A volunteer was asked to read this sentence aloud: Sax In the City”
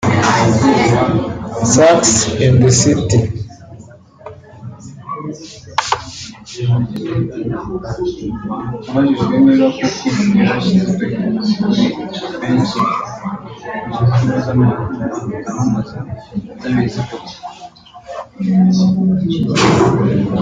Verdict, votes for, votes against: rejected, 0, 2